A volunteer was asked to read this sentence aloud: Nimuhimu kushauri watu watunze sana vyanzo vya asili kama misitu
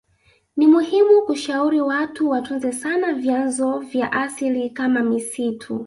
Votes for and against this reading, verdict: 2, 0, accepted